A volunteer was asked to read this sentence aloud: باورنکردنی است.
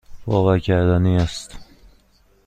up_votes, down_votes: 1, 2